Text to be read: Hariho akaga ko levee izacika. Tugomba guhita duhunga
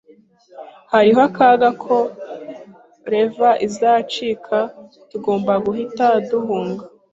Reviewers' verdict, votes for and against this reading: accepted, 2, 0